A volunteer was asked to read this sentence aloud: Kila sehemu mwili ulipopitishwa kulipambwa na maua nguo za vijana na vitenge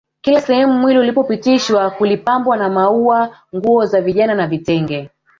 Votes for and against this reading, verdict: 1, 2, rejected